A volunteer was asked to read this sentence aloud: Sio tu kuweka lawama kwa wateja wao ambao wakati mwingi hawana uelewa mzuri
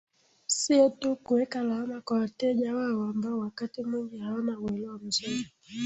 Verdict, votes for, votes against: rejected, 1, 2